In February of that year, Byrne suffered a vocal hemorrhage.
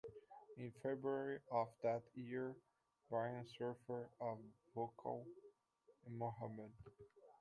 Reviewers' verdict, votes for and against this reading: rejected, 0, 2